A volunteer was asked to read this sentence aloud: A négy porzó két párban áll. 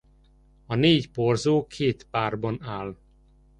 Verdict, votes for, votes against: accepted, 2, 0